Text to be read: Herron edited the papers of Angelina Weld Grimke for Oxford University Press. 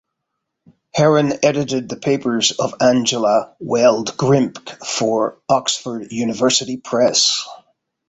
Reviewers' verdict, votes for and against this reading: rejected, 1, 2